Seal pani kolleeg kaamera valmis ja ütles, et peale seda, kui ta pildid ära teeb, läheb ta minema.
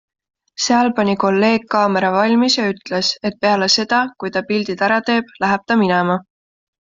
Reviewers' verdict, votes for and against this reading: accepted, 2, 0